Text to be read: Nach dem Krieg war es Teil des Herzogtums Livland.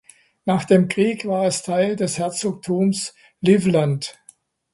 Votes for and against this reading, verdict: 2, 0, accepted